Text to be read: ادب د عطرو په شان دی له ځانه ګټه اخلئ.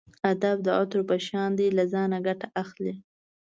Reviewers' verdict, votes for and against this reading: accepted, 2, 0